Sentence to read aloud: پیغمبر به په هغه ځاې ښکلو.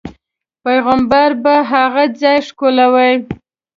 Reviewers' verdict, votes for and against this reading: accepted, 2, 0